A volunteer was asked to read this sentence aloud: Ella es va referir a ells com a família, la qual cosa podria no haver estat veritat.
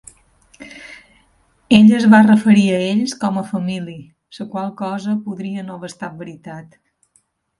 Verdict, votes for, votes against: accepted, 2, 0